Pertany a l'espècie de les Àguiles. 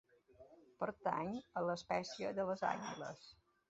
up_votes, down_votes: 2, 0